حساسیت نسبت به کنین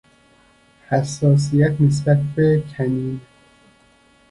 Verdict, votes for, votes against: rejected, 0, 2